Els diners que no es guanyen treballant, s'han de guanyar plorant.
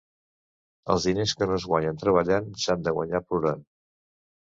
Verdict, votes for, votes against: accepted, 2, 0